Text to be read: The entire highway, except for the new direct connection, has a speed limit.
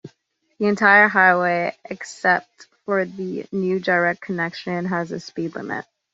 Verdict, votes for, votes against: accepted, 2, 0